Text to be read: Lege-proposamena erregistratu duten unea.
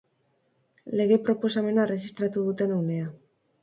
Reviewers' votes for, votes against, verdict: 4, 0, accepted